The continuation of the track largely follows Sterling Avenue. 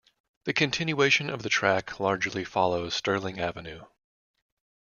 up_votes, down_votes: 2, 0